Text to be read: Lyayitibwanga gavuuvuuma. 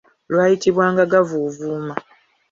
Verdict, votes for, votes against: rejected, 1, 2